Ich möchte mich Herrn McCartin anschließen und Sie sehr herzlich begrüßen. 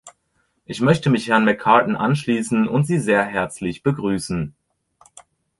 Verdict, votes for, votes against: accepted, 2, 0